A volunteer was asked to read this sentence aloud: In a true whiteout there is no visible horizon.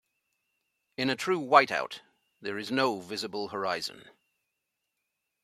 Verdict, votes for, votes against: accepted, 2, 1